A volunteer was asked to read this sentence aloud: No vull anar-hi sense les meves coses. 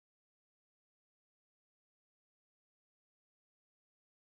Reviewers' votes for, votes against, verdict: 1, 2, rejected